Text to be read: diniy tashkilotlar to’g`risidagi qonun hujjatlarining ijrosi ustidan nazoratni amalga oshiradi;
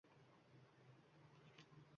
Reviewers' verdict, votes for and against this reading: rejected, 1, 2